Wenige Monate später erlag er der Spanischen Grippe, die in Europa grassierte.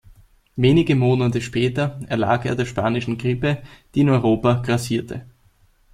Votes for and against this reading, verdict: 2, 0, accepted